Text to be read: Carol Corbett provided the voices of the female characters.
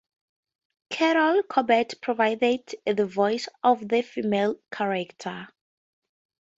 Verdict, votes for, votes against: accepted, 2, 0